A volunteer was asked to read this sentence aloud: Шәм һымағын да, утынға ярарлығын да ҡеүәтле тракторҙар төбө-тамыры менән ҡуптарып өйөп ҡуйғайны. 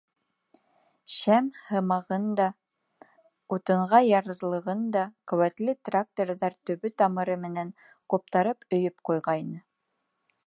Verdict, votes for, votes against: rejected, 1, 2